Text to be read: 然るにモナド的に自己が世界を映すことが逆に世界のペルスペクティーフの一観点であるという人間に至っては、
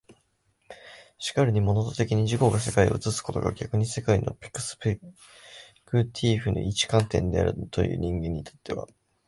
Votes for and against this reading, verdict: 1, 2, rejected